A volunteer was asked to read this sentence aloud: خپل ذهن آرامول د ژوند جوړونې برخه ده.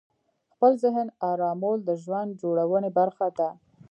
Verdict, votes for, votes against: rejected, 1, 2